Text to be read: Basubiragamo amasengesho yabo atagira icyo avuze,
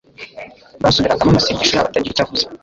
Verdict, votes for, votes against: rejected, 0, 3